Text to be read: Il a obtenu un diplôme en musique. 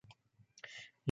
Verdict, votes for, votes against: rejected, 1, 3